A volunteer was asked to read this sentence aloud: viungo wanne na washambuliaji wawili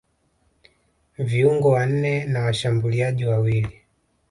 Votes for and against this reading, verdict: 2, 0, accepted